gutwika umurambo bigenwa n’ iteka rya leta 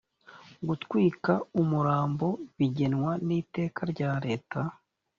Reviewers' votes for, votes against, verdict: 2, 0, accepted